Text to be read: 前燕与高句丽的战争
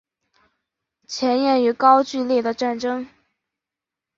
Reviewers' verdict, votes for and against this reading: rejected, 1, 2